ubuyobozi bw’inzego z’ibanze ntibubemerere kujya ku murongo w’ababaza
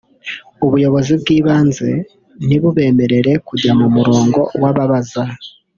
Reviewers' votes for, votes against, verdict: 0, 2, rejected